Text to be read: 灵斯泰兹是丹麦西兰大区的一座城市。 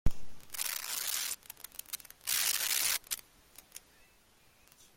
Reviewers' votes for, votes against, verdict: 0, 2, rejected